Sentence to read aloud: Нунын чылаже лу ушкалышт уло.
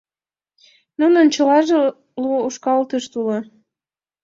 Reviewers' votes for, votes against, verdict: 0, 2, rejected